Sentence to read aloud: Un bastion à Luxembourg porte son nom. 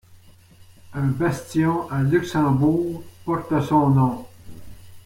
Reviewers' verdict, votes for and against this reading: accepted, 3, 0